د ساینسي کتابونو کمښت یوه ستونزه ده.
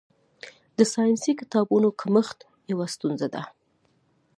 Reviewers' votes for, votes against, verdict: 2, 1, accepted